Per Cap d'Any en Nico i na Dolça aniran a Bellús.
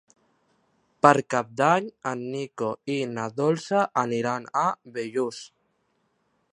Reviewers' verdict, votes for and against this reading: accepted, 3, 0